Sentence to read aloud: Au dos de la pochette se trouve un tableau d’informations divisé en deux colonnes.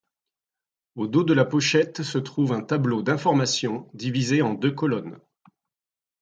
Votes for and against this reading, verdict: 2, 0, accepted